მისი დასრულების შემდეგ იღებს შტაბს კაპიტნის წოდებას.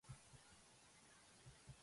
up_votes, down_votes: 0, 2